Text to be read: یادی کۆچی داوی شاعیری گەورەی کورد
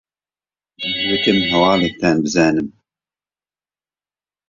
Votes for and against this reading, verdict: 0, 2, rejected